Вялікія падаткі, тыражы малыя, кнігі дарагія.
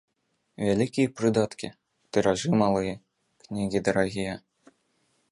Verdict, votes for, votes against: rejected, 1, 2